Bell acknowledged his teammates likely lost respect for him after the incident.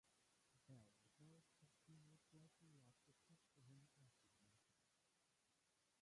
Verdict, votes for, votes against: rejected, 0, 2